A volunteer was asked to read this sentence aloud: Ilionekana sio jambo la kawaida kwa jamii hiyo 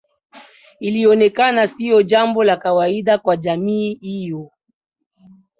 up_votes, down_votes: 2, 0